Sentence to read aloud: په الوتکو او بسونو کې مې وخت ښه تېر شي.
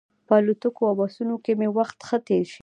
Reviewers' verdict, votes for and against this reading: accepted, 2, 0